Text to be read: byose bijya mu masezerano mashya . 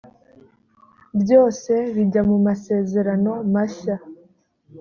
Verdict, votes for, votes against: accepted, 2, 0